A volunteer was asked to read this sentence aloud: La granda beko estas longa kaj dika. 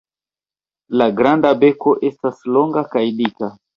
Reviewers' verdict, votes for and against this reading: rejected, 1, 2